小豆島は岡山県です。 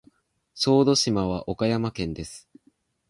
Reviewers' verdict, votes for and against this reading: accepted, 2, 0